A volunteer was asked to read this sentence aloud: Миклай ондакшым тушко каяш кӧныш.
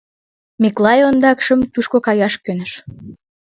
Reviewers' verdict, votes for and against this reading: accepted, 2, 0